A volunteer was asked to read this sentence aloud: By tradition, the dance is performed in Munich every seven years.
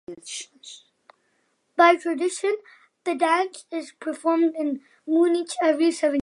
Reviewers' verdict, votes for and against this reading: rejected, 0, 4